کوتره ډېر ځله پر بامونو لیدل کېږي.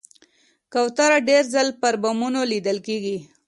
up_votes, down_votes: 2, 0